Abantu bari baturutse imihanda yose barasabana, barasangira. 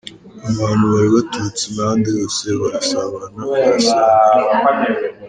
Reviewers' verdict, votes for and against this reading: rejected, 0, 3